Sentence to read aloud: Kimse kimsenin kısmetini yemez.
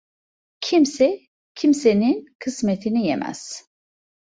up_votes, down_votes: 2, 0